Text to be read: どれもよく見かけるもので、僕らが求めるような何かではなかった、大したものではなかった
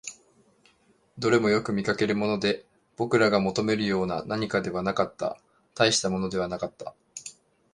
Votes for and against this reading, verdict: 2, 0, accepted